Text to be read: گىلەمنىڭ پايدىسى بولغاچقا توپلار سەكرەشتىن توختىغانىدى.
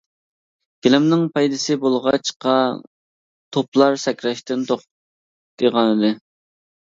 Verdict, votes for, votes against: rejected, 0, 2